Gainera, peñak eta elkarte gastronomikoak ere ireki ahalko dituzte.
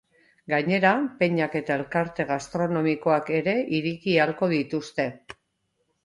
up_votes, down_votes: 0, 2